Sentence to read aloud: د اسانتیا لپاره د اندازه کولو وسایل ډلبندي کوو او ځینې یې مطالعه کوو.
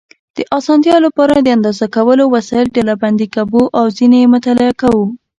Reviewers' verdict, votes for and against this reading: accepted, 4, 2